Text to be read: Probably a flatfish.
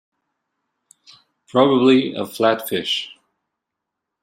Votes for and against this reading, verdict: 2, 0, accepted